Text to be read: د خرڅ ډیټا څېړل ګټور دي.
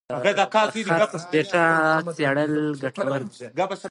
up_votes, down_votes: 2, 0